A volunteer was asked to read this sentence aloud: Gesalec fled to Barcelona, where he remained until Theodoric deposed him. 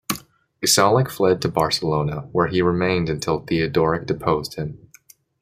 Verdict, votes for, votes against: accepted, 2, 0